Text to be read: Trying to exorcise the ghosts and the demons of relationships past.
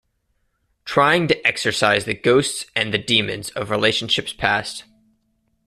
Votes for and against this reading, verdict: 2, 0, accepted